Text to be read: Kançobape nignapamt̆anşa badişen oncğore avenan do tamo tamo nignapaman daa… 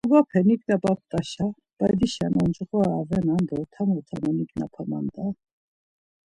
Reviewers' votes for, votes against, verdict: 0, 2, rejected